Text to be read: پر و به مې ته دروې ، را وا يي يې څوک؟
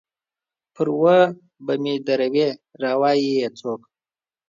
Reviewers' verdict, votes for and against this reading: accepted, 3, 0